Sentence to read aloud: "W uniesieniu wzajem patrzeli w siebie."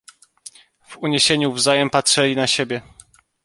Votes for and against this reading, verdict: 1, 2, rejected